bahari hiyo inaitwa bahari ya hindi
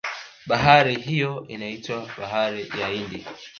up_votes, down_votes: 1, 2